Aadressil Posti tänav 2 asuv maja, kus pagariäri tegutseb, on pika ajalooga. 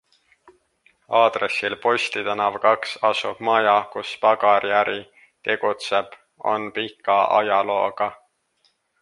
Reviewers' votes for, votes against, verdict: 0, 2, rejected